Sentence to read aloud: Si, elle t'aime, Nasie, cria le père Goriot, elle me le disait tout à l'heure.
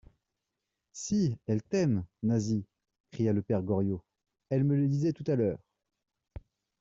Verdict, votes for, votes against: accepted, 2, 0